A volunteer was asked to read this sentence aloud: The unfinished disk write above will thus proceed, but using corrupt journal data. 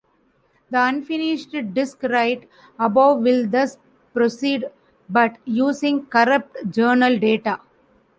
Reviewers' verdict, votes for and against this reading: accepted, 2, 0